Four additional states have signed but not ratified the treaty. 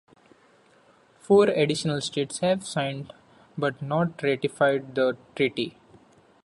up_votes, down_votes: 2, 0